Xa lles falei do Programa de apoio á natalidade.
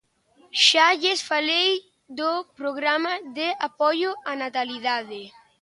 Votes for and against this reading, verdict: 2, 0, accepted